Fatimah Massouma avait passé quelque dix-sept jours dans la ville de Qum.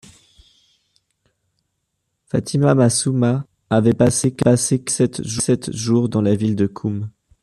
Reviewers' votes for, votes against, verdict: 0, 2, rejected